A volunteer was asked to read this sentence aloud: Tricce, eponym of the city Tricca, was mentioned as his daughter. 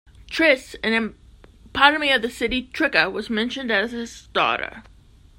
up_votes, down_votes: 0, 2